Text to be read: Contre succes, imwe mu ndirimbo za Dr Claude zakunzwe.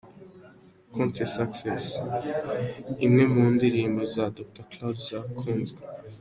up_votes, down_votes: 2, 0